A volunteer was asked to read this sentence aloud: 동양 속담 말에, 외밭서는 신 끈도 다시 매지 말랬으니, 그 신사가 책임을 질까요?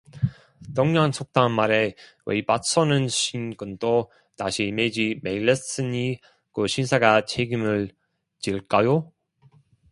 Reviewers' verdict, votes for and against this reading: rejected, 0, 2